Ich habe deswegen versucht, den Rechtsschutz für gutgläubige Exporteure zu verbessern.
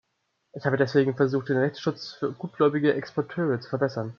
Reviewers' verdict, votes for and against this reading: accepted, 2, 0